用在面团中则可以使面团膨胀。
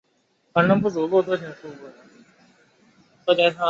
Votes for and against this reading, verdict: 0, 3, rejected